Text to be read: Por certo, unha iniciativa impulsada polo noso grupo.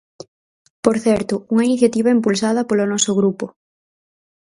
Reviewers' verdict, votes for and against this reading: rejected, 2, 2